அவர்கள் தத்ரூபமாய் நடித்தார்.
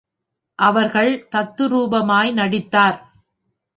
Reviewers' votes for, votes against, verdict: 2, 0, accepted